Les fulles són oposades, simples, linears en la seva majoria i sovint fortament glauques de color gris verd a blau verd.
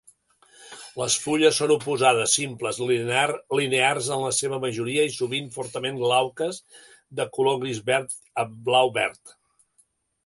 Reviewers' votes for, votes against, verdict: 2, 3, rejected